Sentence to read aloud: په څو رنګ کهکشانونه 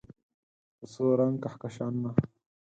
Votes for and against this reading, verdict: 4, 0, accepted